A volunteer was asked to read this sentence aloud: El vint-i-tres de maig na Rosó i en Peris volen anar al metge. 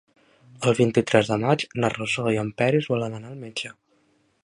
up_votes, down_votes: 3, 0